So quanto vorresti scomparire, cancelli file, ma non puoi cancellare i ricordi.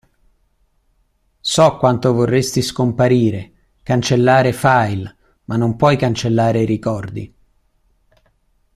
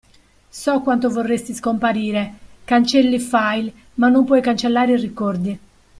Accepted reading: second